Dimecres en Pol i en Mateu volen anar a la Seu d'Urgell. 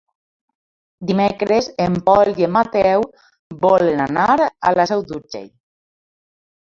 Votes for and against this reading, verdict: 2, 0, accepted